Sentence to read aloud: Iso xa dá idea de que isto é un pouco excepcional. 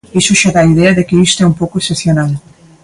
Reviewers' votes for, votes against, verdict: 2, 0, accepted